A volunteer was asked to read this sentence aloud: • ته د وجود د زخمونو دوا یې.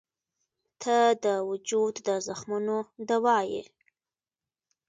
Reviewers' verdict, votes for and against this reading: accepted, 2, 1